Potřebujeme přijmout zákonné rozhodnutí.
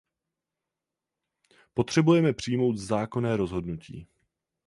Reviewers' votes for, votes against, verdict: 0, 4, rejected